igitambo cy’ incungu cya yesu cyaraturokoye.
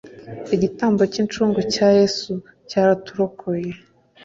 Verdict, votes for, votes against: accepted, 2, 0